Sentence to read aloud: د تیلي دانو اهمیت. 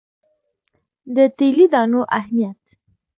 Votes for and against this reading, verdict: 2, 1, accepted